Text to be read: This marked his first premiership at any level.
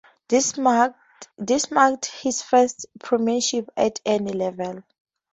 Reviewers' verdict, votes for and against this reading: accepted, 2, 0